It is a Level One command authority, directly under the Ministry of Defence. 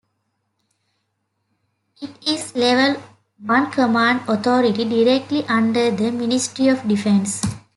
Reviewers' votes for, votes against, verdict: 0, 2, rejected